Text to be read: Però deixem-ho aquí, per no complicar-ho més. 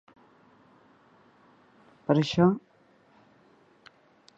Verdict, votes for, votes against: rejected, 0, 2